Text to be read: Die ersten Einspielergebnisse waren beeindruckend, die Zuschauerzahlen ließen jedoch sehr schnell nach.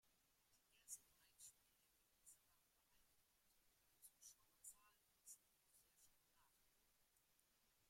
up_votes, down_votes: 0, 2